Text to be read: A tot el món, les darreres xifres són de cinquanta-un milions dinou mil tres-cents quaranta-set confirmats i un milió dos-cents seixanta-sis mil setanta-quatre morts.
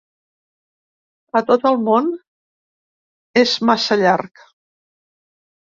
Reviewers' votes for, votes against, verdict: 0, 2, rejected